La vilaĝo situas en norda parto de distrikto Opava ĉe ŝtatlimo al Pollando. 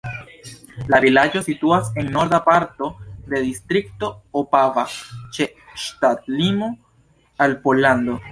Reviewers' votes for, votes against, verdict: 2, 1, accepted